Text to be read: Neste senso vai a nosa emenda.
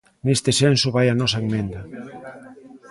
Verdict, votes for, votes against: rejected, 0, 3